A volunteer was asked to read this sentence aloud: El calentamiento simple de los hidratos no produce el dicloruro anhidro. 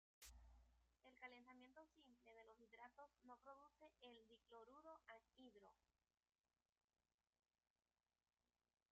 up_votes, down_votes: 0, 2